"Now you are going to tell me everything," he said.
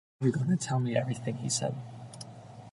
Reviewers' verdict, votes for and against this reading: rejected, 1, 2